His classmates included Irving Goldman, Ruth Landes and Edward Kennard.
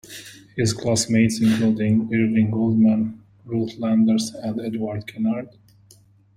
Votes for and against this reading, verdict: 0, 2, rejected